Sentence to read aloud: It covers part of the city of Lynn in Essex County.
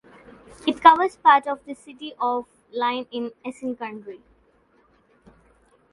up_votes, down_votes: 0, 2